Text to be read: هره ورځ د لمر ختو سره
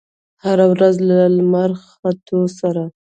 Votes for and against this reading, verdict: 2, 0, accepted